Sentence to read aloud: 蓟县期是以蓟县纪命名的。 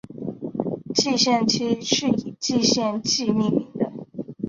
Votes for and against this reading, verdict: 2, 1, accepted